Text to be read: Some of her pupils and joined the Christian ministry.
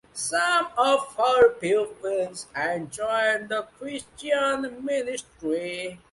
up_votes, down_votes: 3, 0